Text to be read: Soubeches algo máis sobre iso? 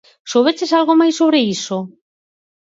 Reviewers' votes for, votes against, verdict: 4, 0, accepted